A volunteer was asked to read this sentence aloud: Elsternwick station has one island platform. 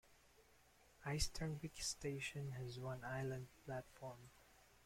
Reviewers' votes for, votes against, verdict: 1, 2, rejected